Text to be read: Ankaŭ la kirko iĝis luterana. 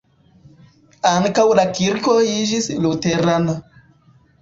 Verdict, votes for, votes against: rejected, 0, 2